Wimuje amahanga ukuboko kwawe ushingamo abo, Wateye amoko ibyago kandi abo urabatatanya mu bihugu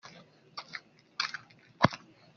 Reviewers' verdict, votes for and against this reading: rejected, 0, 2